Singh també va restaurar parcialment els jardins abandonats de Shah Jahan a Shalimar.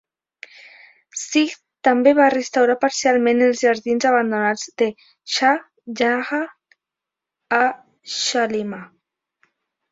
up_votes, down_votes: 0, 2